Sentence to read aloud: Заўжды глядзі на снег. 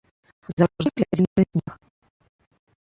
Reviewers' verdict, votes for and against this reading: rejected, 1, 2